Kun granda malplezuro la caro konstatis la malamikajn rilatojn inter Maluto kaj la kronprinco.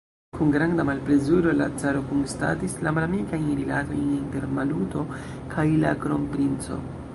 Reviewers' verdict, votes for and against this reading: rejected, 1, 2